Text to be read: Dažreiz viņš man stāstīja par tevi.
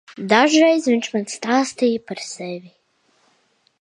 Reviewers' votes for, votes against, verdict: 0, 2, rejected